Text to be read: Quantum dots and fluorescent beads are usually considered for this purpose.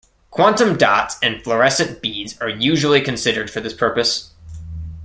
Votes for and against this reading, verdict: 2, 0, accepted